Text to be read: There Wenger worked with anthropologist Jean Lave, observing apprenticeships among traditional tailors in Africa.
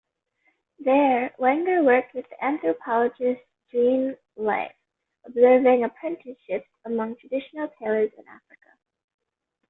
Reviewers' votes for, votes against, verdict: 0, 2, rejected